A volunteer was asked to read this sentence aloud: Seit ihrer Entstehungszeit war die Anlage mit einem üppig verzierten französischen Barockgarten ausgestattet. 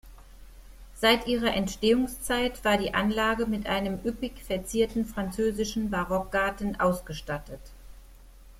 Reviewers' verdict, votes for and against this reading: accepted, 2, 0